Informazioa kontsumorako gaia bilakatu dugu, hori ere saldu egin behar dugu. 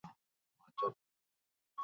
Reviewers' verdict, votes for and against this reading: rejected, 0, 6